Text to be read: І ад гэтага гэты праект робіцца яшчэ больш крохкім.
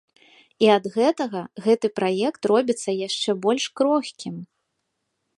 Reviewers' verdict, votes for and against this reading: accepted, 2, 0